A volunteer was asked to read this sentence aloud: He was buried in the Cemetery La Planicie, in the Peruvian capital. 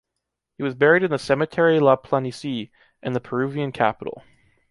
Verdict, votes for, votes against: accepted, 2, 0